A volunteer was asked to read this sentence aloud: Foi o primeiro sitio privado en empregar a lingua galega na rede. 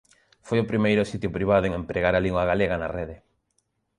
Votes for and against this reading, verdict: 2, 0, accepted